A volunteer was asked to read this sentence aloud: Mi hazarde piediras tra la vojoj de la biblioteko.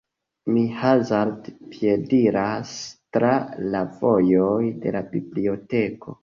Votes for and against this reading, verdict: 2, 1, accepted